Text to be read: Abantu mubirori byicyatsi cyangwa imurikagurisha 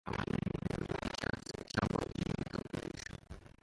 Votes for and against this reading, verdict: 0, 2, rejected